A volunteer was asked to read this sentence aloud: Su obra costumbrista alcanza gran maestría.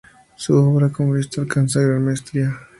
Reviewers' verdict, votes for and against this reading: rejected, 0, 2